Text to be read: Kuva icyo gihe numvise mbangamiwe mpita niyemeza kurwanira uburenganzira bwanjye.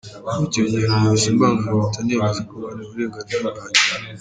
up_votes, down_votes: 1, 2